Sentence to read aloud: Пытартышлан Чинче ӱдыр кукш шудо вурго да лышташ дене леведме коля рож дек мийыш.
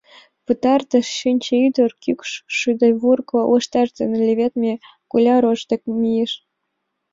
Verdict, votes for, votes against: rejected, 1, 2